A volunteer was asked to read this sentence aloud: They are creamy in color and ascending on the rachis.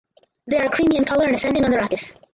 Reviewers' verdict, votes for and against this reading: rejected, 2, 4